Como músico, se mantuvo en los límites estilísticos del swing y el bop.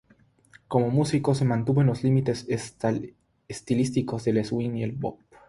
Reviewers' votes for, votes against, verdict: 0, 3, rejected